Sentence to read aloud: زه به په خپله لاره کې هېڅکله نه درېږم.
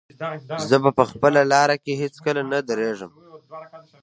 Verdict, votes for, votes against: rejected, 1, 2